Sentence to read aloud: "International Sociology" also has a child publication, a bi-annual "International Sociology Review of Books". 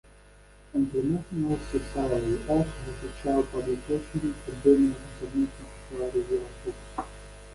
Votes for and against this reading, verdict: 0, 2, rejected